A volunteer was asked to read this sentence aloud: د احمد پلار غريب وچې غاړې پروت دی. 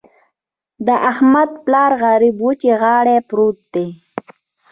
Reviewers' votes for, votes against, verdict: 3, 0, accepted